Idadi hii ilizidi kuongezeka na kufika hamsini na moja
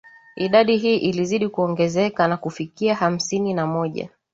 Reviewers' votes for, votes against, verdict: 2, 0, accepted